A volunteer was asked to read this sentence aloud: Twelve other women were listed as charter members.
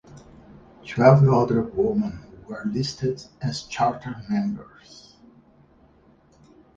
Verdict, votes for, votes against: accepted, 4, 0